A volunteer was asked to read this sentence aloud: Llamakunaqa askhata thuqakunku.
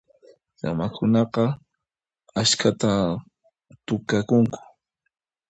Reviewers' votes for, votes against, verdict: 1, 2, rejected